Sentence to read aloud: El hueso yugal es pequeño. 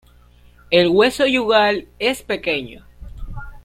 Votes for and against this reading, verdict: 2, 0, accepted